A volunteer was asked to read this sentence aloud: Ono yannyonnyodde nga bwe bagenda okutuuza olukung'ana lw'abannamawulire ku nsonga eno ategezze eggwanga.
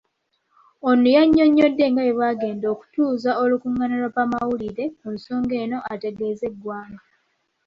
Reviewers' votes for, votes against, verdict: 2, 0, accepted